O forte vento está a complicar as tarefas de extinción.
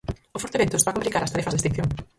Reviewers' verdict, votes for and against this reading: rejected, 0, 4